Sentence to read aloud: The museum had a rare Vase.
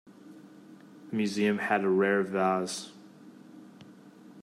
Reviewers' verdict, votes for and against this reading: accepted, 2, 1